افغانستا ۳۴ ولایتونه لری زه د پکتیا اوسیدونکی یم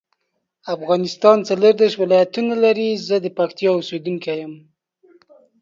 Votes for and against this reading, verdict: 0, 2, rejected